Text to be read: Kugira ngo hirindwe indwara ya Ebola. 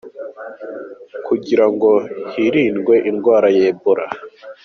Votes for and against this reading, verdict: 2, 0, accepted